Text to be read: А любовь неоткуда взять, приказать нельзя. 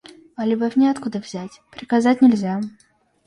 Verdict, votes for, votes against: accepted, 2, 0